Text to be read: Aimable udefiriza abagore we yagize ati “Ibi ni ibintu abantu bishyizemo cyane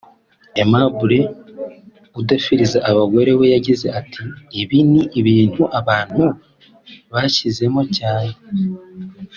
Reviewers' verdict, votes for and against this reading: accepted, 2, 0